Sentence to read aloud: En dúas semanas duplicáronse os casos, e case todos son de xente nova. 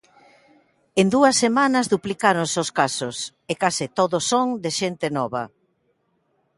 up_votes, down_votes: 2, 0